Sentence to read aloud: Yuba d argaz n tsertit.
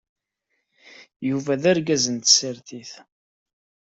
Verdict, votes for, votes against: accepted, 2, 0